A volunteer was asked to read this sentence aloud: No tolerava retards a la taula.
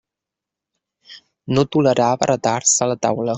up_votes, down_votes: 2, 1